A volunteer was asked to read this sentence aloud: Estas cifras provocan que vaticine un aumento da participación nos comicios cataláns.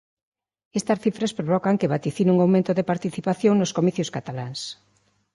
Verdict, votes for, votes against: rejected, 1, 2